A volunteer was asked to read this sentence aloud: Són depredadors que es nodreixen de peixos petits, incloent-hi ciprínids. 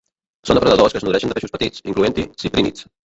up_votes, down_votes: 0, 2